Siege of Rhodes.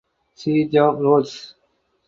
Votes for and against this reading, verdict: 4, 0, accepted